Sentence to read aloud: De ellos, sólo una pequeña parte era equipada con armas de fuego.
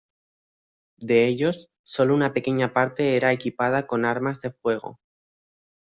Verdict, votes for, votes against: accepted, 2, 1